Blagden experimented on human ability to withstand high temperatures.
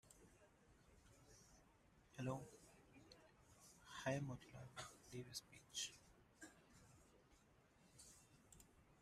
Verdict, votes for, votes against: rejected, 0, 2